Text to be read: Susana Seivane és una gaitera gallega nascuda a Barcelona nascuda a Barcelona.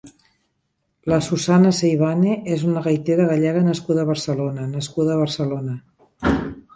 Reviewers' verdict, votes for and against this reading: rejected, 0, 3